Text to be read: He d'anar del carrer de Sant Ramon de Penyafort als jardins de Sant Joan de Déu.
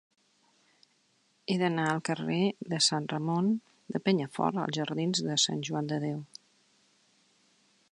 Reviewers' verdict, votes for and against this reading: rejected, 1, 2